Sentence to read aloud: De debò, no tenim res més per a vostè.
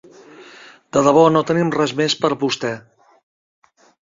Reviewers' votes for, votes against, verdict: 1, 2, rejected